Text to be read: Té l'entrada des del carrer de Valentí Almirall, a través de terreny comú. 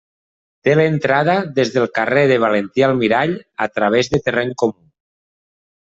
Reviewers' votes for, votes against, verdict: 0, 2, rejected